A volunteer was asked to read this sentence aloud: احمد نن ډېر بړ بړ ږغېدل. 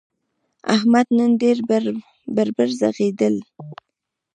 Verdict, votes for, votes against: accepted, 2, 0